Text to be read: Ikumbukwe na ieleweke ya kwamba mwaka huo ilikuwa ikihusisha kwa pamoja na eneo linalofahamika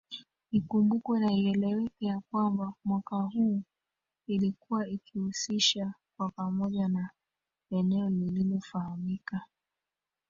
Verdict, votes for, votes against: rejected, 0, 2